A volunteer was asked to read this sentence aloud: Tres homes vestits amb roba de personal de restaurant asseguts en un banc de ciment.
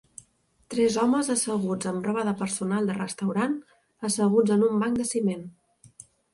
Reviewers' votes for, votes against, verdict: 2, 4, rejected